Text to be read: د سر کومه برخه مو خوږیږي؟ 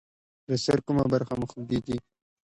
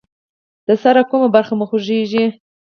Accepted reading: first